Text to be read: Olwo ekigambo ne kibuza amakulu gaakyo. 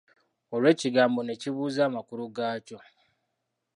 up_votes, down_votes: 2, 1